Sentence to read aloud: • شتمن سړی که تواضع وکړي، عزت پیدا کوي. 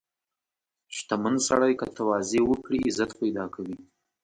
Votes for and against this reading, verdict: 0, 2, rejected